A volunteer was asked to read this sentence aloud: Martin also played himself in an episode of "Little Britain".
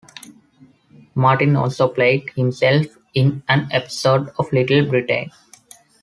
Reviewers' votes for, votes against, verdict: 2, 1, accepted